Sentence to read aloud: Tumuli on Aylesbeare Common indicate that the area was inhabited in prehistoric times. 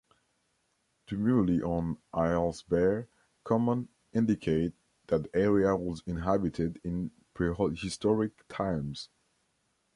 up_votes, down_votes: 0, 2